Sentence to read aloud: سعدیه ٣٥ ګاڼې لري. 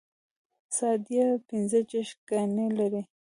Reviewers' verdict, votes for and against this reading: rejected, 0, 2